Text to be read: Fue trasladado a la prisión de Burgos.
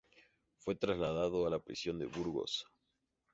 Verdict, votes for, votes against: accepted, 2, 0